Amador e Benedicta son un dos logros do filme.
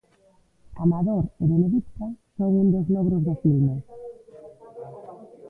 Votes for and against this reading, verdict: 1, 2, rejected